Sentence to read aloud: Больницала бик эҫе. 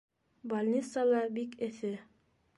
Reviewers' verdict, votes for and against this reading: accepted, 2, 0